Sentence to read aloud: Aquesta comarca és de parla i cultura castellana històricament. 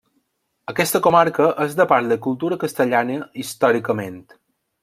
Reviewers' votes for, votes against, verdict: 2, 0, accepted